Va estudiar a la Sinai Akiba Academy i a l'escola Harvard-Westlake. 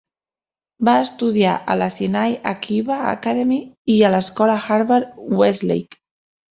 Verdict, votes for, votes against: accepted, 4, 1